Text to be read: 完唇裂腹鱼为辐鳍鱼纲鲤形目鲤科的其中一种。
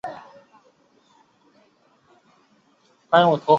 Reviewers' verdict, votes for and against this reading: rejected, 0, 2